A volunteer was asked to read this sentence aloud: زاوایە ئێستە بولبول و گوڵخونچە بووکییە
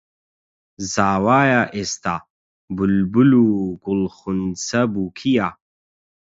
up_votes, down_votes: 0, 8